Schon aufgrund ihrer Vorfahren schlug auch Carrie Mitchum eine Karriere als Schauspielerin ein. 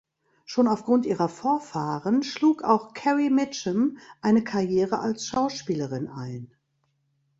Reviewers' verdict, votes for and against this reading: accepted, 2, 0